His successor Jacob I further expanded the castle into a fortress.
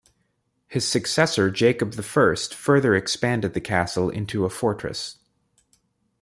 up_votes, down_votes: 2, 1